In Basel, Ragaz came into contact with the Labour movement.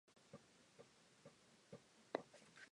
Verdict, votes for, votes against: rejected, 0, 2